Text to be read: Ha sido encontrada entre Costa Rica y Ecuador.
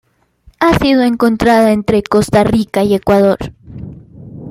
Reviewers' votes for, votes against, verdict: 2, 0, accepted